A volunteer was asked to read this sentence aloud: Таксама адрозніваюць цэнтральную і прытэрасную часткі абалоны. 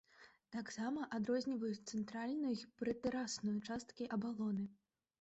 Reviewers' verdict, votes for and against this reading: rejected, 1, 2